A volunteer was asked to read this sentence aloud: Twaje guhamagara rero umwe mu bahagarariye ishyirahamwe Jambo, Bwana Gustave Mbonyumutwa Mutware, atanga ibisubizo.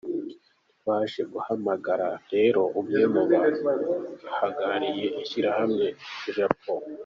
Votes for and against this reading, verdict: 0, 3, rejected